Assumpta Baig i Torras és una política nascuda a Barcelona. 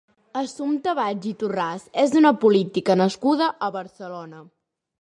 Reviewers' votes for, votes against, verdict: 1, 2, rejected